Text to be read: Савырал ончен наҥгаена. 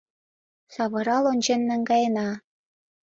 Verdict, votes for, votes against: accepted, 2, 0